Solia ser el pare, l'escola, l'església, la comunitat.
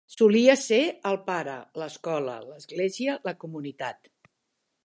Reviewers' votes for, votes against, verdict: 3, 0, accepted